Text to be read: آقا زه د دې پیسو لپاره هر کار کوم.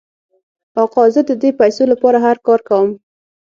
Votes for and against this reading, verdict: 3, 6, rejected